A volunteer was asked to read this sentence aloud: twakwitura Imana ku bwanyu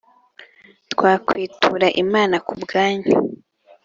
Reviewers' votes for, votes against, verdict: 2, 0, accepted